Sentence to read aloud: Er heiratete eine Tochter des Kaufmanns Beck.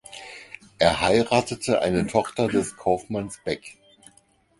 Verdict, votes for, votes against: rejected, 2, 4